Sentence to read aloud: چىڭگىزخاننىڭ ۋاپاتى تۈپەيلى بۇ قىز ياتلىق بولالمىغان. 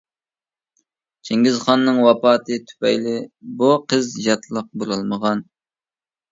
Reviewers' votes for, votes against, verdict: 2, 0, accepted